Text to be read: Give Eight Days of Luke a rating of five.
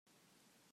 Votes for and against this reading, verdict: 0, 2, rejected